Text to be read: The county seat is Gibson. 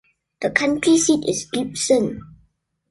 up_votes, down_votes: 2, 1